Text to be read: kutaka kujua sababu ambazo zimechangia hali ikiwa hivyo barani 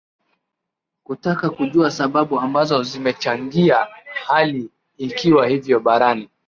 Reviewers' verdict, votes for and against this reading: accepted, 9, 3